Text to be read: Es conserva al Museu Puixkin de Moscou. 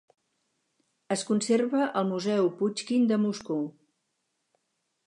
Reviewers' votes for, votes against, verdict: 2, 0, accepted